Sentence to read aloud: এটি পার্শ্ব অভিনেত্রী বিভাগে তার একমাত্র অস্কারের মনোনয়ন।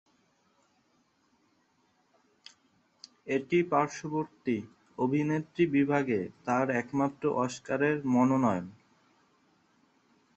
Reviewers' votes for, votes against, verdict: 2, 2, rejected